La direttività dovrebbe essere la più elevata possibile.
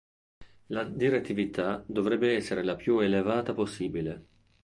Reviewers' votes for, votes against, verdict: 2, 0, accepted